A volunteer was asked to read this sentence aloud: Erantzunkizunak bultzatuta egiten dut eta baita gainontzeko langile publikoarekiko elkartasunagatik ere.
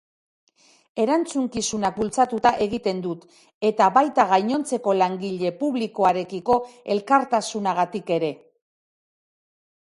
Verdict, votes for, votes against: accepted, 2, 0